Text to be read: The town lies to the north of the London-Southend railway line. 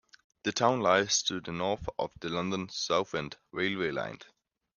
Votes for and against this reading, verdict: 1, 2, rejected